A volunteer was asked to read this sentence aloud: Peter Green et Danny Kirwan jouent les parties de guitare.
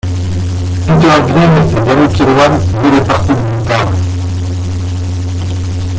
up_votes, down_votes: 0, 2